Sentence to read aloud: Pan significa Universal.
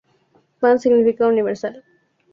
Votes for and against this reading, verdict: 4, 0, accepted